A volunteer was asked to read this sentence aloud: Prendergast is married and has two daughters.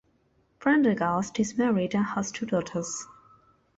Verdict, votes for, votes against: rejected, 1, 2